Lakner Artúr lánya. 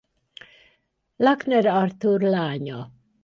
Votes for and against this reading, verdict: 4, 0, accepted